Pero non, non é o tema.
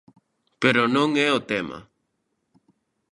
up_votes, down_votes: 0, 2